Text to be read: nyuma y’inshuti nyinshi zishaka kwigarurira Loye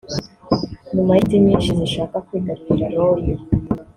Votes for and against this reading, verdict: 1, 2, rejected